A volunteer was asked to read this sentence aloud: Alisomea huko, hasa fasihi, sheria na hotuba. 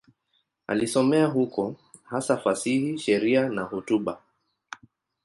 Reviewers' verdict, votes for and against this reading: accepted, 2, 0